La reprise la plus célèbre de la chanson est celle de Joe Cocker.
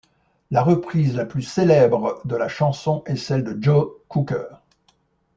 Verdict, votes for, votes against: rejected, 1, 2